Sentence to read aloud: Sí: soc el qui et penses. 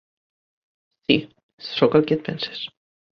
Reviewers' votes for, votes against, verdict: 1, 2, rejected